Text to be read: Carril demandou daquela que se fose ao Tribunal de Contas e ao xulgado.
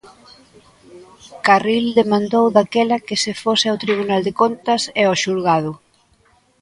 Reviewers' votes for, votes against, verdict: 2, 0, accepted